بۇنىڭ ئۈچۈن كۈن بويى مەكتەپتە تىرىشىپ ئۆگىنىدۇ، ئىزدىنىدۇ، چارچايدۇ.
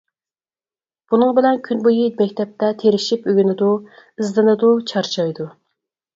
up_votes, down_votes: 0, 4